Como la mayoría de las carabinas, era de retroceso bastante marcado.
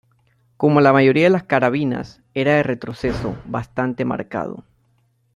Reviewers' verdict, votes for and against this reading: rejected, 1, 2